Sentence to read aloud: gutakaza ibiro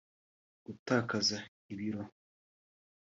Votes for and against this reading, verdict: 0, 2, rejected